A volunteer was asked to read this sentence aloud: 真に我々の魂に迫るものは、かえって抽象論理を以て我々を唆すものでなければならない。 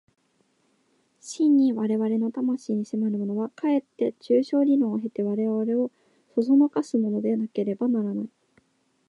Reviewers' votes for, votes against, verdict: 1, 2, rejected